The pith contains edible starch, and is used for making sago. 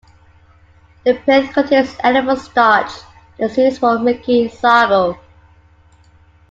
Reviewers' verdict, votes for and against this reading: rejected, 0, 2